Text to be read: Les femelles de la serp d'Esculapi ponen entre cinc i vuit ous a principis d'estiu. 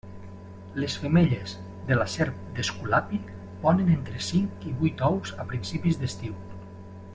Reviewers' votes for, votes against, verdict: 2, 0, accepted